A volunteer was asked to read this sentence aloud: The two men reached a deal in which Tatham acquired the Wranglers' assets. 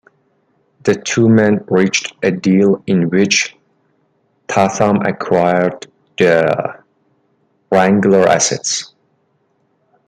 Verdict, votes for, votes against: rejected, 1, 2